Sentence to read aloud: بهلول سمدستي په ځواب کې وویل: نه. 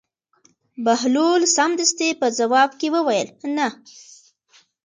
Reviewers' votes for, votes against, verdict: 2, 0, accepted